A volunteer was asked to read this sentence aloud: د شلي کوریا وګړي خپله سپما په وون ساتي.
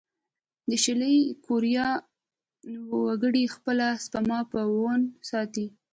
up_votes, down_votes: 2, 1